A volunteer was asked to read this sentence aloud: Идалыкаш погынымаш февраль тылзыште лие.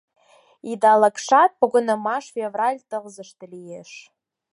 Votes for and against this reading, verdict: 2, 4, rejected